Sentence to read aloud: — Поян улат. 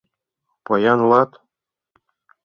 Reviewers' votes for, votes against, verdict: 2, 0, accepted